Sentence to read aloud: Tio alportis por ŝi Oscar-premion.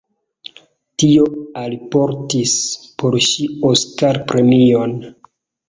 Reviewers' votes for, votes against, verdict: 2, 0, accepted